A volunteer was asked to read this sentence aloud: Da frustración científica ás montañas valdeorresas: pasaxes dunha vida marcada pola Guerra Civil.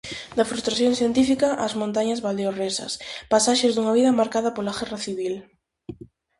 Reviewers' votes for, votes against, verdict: 4, 0, accepted